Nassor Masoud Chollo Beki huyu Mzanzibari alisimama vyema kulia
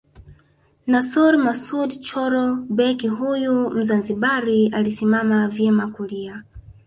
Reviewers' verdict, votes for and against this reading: rejected, 0, 2